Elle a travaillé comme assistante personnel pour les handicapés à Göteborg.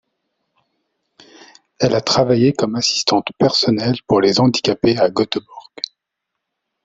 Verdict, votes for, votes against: accepted, 2, 0